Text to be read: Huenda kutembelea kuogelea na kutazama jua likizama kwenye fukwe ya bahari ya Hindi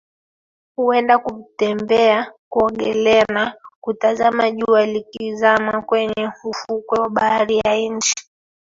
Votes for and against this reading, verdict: 1, 2, rejected